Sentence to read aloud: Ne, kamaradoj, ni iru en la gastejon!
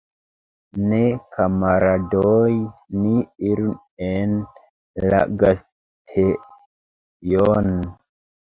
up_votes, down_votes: 1, 2